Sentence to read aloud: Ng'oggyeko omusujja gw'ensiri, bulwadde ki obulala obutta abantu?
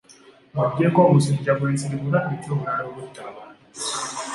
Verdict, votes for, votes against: accepted, 2, 0